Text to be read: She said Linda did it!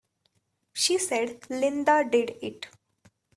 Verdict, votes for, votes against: rejected, 0, 2